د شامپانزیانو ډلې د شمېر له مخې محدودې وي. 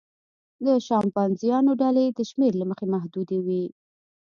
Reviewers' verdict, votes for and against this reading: accepted, 2, 1